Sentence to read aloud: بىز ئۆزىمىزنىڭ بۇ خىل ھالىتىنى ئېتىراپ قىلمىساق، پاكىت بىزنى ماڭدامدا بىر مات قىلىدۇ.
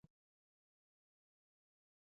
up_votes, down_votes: 0, 2